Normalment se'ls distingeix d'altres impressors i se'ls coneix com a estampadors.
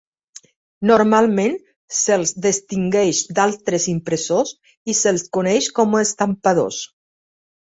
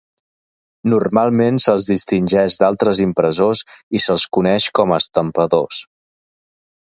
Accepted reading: second